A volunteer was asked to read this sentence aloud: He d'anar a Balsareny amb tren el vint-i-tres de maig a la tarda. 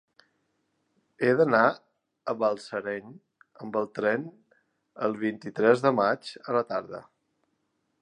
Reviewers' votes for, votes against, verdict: 1, 2, rejected